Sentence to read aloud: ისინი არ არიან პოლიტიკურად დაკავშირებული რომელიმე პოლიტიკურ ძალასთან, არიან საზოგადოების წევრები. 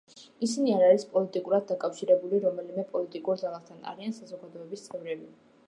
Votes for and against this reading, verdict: 0, 2, rejected